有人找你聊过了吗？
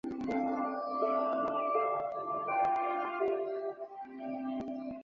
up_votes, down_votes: 0, 2